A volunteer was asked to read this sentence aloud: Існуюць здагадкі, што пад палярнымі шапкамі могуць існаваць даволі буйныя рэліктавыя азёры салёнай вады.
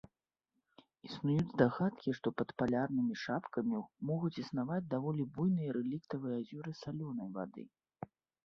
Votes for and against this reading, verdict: 1, 2, rejected